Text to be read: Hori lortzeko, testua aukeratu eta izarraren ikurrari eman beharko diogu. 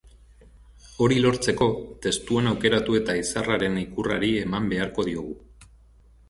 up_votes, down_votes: 3, 1